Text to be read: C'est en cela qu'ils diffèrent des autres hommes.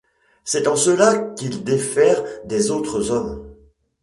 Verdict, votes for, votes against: rejected, 1, 2